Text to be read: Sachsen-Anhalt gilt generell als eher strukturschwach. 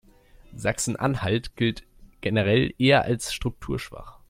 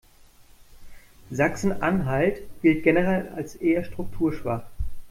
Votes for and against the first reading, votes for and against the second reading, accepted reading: 1, 2, 2, 0, second